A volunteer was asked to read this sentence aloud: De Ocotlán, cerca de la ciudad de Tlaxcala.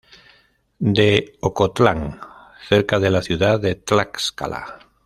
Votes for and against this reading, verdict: 2, 0, accepted